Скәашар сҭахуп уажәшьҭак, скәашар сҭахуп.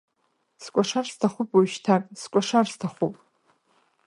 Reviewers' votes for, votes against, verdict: 1, 2, rejected